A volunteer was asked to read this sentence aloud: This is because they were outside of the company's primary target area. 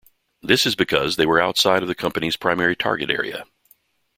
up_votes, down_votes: 2, 0